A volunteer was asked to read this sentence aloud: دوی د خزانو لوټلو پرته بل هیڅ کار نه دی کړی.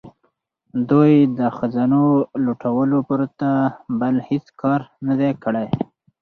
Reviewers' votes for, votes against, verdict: 2, 4, rejected